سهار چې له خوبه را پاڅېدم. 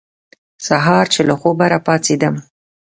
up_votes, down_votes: 2, 0